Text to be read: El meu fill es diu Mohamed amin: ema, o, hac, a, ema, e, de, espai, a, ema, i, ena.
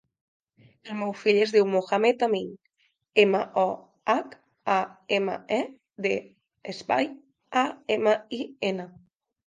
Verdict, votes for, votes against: accepted, 3, 0